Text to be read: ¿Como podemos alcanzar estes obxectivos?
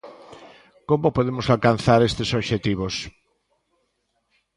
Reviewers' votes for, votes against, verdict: 2, 0, accepted